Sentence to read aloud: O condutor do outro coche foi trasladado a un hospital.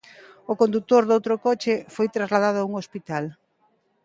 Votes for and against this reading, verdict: 1, 2, rejected